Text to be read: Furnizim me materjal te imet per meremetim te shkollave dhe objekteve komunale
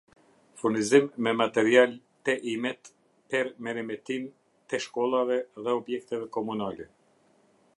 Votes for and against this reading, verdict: 1, 2, rejected